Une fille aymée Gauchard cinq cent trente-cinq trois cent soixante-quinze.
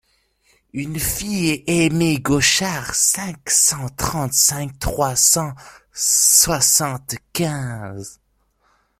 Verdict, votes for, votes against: accepted, 2, 0